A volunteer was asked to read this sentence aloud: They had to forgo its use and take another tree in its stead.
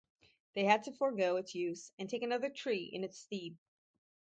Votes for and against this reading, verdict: 2, 0, accepted